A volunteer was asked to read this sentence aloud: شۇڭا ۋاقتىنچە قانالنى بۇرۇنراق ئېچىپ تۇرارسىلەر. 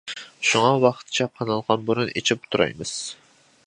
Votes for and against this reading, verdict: 0, 2, rejected